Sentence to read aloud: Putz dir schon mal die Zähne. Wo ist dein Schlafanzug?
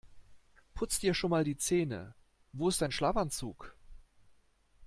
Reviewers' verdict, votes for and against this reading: accepted, 2, 0